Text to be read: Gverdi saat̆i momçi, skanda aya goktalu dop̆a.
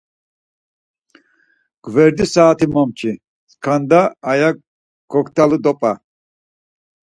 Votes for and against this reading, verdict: 4, 0, accepted